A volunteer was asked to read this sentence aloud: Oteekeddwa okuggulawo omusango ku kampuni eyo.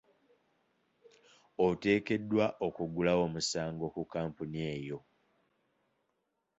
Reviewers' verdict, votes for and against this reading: accepted, 2, 0